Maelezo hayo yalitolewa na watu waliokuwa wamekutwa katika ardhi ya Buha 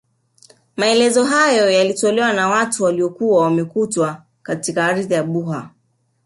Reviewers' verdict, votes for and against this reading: rejected, 1, 2